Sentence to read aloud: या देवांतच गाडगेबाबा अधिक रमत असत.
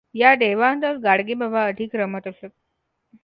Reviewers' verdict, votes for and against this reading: accepted, 2, 1